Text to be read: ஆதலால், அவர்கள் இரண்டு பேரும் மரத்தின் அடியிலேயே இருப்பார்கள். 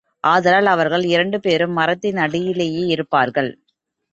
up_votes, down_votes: 2, 1